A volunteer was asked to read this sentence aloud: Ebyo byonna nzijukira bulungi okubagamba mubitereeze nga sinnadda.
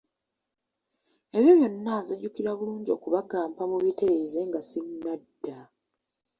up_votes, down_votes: 2, 1